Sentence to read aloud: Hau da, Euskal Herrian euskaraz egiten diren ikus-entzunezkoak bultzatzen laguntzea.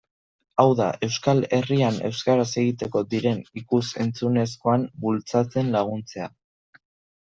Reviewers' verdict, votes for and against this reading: rejected, 0, 2